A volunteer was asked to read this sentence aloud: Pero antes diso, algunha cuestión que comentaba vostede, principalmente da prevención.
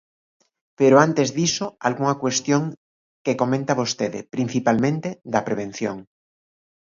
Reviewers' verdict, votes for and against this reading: rejected, 0, 2